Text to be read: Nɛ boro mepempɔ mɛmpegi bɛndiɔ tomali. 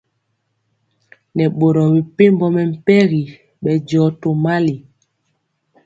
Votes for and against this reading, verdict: 2, 0, accepted